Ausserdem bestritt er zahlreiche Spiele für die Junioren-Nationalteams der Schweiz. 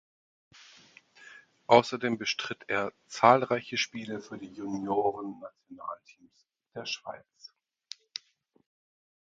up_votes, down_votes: 2, 4